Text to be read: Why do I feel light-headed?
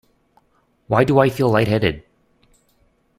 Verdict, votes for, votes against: accepted, 2, 0